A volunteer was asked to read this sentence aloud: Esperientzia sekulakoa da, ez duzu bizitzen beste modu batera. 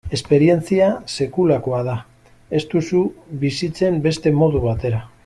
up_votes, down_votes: 1, 2